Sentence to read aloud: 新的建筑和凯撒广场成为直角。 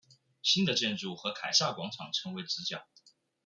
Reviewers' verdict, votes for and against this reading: accepted, 2, 0